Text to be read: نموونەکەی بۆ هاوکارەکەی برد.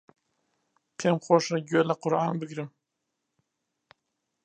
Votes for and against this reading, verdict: 0, 2, rejected